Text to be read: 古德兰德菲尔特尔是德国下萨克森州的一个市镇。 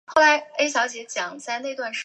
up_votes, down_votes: 0, 3